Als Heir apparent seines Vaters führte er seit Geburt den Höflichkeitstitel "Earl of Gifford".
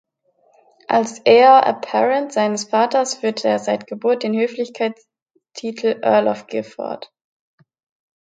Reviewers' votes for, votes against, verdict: 1, 2, rejected